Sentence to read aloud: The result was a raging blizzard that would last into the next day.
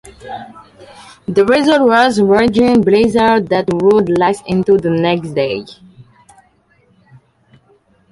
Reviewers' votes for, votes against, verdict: 0, 2, rejected